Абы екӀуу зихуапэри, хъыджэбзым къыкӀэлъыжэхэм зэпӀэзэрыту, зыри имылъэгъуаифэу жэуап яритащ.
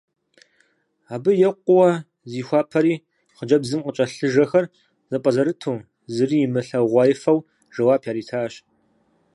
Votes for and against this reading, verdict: 2, 4, rejected